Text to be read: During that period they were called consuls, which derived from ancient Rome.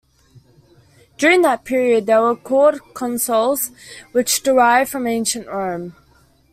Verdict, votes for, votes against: rejected, 1, 2